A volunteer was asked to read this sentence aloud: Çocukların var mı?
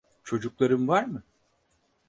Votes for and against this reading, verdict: 4, 0, accepted